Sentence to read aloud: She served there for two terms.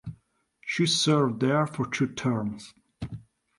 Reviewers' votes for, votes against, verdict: 2, 0, accepted